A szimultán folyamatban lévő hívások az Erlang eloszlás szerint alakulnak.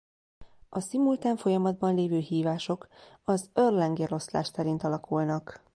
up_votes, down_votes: 2, 0